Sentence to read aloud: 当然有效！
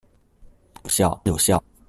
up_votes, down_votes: 0, 2